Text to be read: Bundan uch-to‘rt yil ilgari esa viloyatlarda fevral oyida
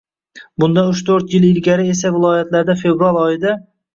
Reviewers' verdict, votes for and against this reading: rejected, 0, 2